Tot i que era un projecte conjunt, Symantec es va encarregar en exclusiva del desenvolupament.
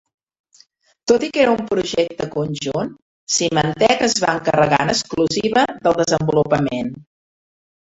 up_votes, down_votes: 0, 2